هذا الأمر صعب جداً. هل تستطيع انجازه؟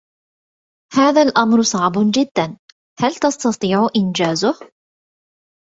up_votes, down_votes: 1, 2